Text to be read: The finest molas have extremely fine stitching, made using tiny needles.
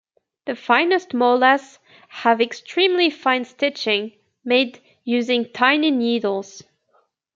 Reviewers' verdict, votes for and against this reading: accepted, 2, 0